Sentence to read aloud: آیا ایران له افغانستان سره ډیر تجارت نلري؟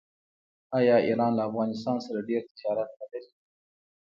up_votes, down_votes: 2, 0